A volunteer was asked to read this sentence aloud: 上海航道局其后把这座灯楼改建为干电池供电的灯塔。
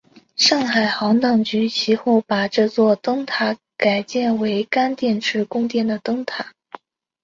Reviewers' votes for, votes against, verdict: 2, 0, accepted